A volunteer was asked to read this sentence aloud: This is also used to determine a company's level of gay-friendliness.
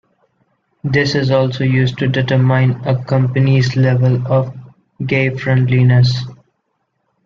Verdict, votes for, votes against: accepted, 2, 0